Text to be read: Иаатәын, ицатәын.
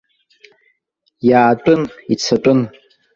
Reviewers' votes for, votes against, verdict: 2, 0, accepted